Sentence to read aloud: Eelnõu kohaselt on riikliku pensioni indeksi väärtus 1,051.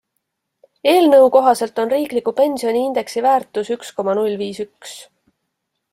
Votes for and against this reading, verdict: 0, 2, rejected